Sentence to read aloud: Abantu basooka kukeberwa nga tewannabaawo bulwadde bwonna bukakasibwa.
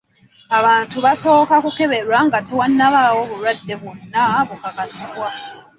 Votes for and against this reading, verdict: 2, 0, accepted